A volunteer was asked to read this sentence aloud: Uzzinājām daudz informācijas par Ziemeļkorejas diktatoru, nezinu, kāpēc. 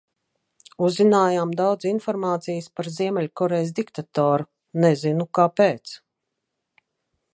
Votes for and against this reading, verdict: 2, 0, accepted